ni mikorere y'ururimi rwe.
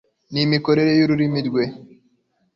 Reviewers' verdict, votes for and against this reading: accepted, 2, 0